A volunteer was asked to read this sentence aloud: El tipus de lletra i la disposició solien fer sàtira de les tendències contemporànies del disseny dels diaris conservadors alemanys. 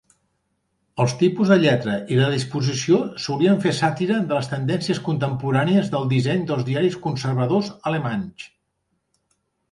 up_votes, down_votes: 0, 2